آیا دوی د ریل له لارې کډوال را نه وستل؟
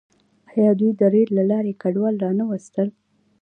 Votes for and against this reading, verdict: 0, 2, rejected